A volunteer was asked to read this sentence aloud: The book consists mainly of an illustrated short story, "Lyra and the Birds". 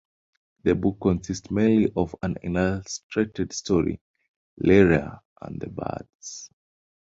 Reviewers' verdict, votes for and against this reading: accepted, 2, 0